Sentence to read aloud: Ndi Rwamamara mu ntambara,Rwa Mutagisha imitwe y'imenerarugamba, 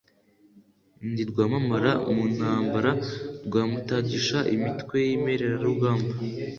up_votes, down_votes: 2, 0